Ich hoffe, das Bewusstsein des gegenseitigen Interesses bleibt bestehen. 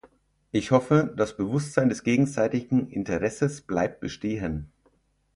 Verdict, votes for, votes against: accepted, 6, 0